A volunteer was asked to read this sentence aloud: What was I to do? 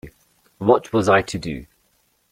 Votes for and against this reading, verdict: 2, 0, accepted